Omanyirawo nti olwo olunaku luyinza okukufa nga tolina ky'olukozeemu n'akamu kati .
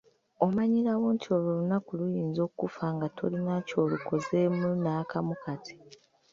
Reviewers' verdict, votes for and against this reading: rejected, 1, 2